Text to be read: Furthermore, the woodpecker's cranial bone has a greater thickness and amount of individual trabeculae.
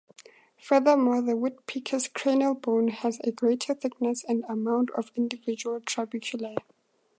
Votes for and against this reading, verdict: 4, 0, accepted